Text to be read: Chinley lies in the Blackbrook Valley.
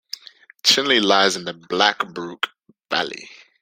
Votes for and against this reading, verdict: 2, 0, accepted